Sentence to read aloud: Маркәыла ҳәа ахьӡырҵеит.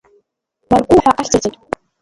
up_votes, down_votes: 0, 2